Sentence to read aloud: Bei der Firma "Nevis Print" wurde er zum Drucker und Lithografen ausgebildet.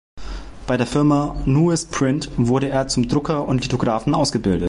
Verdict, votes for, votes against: rejected, 0, 2